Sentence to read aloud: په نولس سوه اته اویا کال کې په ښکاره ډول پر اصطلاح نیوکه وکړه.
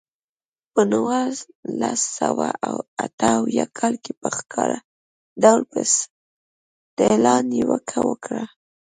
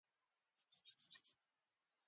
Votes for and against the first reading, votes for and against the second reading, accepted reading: 0, 2, 2, 1, second